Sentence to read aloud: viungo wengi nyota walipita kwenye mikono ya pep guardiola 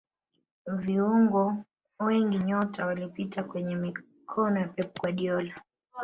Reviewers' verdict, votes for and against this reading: rejected, 1, 2